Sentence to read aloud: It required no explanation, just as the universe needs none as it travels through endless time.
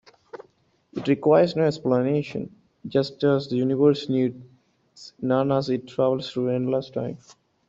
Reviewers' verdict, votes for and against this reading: rejected, 0, 2